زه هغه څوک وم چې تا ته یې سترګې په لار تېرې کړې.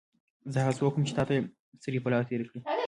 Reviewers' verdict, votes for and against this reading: rejected, 1, 2